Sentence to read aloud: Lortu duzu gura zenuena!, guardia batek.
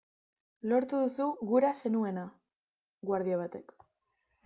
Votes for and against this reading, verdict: 2, 0, accepted